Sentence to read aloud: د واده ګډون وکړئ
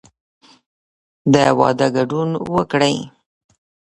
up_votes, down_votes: 0, 2